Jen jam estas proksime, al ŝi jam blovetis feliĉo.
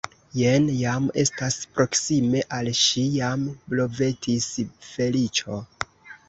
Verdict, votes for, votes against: rejected, 1, 2